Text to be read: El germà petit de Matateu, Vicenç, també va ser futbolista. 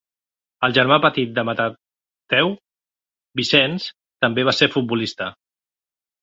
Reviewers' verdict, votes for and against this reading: rejected, 0, 2